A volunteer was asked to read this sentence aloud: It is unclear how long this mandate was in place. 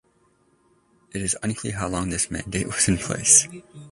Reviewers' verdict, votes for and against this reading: accepted, 2, 1